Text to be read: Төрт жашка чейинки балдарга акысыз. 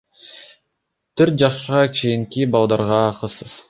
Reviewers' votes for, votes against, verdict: 0, 2, rejected